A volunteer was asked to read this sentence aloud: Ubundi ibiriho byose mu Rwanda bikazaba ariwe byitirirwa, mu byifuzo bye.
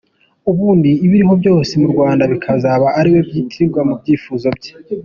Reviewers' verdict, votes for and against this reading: accepted, 2, 0